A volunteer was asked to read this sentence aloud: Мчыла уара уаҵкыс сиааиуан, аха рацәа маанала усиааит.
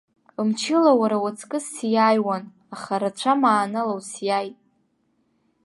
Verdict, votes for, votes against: accepted, 2, 0